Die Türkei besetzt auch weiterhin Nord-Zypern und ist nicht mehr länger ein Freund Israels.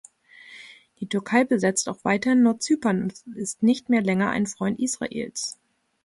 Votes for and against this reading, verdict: 1, 2, rejected